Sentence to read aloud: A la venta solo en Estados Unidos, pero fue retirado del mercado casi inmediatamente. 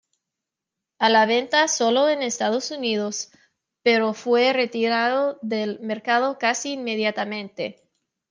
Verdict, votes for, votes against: accepted, 2, 1